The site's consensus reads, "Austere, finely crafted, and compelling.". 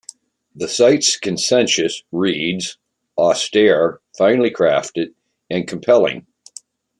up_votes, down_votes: 1, 2